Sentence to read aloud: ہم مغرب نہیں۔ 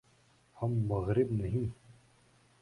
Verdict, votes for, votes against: rejected, 0, 2